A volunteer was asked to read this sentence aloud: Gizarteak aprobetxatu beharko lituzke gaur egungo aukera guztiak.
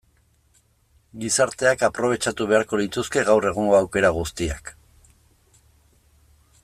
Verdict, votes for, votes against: accepted, 2, 0